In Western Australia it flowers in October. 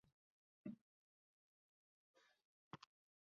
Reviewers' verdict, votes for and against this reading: rejected, 0, 2